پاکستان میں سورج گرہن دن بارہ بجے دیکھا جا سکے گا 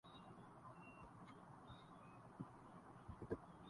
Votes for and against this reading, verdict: 2, 2, rejected